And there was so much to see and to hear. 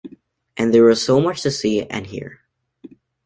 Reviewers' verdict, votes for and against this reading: rejected, 1, 2